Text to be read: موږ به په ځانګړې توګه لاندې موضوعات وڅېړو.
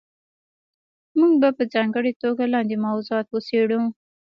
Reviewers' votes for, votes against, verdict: 1, 2, rejected